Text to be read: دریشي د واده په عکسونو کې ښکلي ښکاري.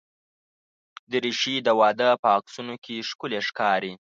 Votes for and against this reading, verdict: 2, 0, accepted